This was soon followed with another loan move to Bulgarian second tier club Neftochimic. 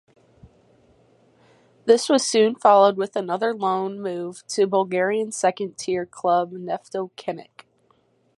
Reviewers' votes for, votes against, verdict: 4, 0, accepted